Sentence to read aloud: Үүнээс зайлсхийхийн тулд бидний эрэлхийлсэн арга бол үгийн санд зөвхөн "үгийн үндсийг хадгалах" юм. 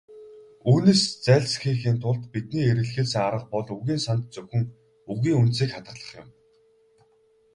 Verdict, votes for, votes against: accepted, 4, 0